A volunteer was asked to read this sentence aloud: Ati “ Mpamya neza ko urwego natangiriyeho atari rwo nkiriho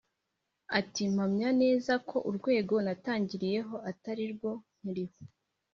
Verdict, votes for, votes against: accepted, 2, 0